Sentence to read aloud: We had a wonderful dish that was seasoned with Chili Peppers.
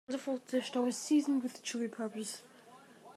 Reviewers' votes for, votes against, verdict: 0, 2, rejected